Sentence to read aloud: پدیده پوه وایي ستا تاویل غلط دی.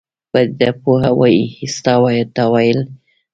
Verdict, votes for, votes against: accepted, 2, 0